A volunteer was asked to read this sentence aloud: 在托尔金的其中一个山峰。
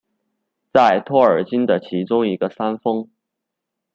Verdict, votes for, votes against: rejected, 1, 2